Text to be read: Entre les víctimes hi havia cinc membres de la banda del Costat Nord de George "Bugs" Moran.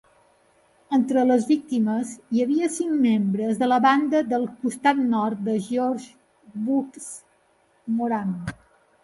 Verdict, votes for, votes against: accepted, 2, 0